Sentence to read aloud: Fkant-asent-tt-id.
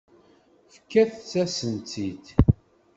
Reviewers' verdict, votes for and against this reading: rejected, 1, 2